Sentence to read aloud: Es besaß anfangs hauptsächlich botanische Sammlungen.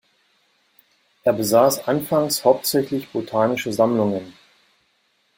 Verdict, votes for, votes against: accepted, 2, 1